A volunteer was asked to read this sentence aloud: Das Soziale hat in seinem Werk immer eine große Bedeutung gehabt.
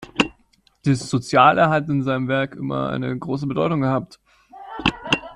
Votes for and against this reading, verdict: 1, 2, rejected